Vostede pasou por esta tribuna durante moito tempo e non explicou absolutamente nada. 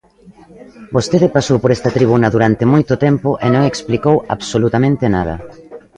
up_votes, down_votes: 2, 1